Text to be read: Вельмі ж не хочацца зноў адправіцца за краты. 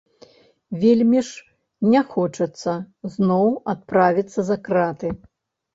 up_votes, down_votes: 2, 0